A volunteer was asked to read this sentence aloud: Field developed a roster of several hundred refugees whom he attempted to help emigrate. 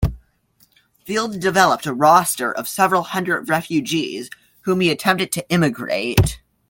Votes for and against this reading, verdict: 1, 2, rejected